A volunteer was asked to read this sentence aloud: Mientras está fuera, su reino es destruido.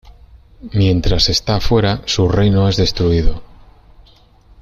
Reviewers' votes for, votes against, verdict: 2, 0, accepted